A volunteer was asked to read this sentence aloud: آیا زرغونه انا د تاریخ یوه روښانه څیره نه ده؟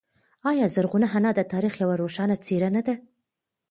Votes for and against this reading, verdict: 2, 0, accepted